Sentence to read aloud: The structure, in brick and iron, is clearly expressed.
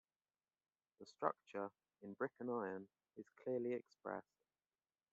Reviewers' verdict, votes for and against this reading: accepted, 2, 0